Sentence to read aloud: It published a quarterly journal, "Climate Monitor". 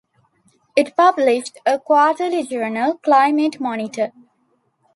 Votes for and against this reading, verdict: 2, 0, accepted